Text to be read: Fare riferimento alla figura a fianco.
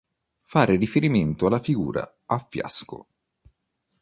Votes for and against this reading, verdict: 1, 2, rejected